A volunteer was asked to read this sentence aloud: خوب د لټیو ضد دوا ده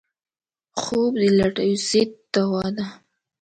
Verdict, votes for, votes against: accepted, 2, 0